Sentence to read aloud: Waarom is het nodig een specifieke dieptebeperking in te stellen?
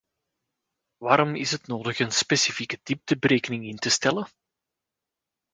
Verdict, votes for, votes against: rejected, 0, 2